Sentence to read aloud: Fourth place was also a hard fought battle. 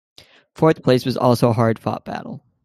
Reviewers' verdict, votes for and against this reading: accepted, 2, 0